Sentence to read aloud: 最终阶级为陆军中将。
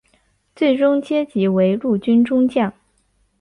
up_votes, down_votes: 4, 0